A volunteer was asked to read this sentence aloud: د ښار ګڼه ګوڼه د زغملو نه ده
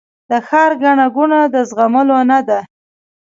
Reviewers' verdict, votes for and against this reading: rejected, 1, 2